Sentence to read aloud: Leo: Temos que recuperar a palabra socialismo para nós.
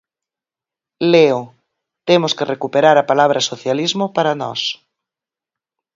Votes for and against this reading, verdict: 4, 0, accepted